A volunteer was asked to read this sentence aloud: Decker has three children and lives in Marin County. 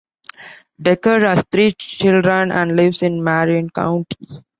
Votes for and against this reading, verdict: 2, 0, accepted